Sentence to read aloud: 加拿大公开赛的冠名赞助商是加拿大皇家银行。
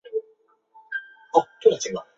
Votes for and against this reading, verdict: 2, 3, rejected